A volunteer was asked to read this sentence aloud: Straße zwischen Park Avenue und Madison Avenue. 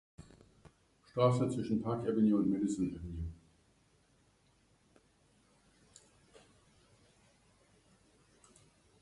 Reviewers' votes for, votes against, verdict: 2, 0, accepted